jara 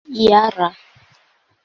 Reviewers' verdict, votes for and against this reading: accepted, 2, 0